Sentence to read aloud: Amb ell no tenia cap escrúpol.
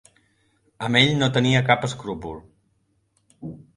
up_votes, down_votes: 2, 0